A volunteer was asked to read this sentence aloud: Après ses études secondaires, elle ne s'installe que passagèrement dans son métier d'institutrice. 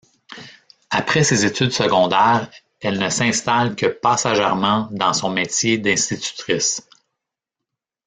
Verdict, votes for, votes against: rejected, 1, 2